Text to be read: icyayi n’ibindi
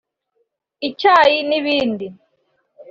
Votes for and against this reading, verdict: 3, 0, accepted